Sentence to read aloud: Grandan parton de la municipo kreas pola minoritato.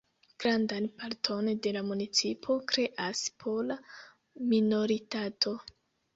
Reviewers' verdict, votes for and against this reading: rejected, 1, 2